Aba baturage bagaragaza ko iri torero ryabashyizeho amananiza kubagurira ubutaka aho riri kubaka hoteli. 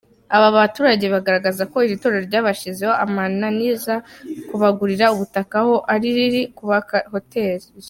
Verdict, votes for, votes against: accepted, 3, 0